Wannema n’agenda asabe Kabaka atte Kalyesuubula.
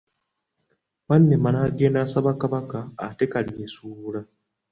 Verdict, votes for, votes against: accepted, 3, 0